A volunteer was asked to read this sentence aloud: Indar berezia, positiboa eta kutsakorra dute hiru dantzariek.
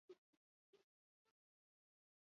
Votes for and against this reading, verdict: 0, 4, rejected